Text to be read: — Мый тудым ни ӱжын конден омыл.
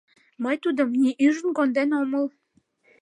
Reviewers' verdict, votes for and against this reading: accepted, 2, 0